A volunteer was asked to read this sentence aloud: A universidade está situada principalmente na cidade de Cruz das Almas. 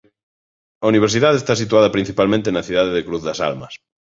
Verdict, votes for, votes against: accepted, 2, 0